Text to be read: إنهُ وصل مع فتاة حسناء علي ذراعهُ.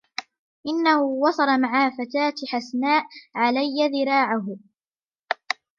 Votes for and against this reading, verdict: 0, 2, rejected